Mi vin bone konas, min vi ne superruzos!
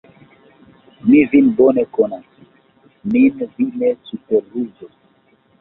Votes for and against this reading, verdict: 2, 0, accepted